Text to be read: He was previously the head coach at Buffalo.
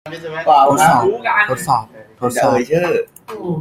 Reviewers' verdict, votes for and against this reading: rejected, 0, 2